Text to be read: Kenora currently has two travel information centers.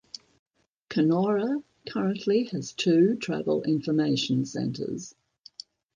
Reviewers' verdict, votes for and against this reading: accepted, 2, 0